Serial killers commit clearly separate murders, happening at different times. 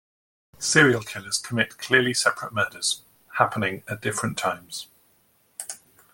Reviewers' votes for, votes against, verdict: 2, 0, accepted